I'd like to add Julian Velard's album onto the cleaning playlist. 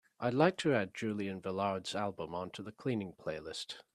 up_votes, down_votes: 3, 0